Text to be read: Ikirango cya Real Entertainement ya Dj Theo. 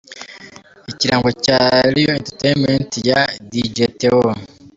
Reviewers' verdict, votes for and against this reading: accepted, 2, 0